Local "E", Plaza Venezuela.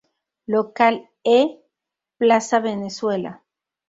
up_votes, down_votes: 6, 0